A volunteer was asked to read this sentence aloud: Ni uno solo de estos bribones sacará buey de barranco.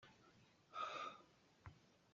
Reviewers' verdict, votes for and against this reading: rejected, 0, 2